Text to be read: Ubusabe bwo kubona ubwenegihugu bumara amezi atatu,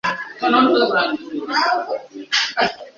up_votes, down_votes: 1, 2